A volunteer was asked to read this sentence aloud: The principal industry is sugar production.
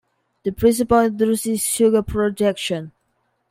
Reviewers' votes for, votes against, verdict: 1, 2, rejected